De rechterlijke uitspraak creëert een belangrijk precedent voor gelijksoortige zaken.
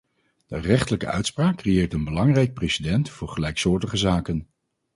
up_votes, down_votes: 2, 0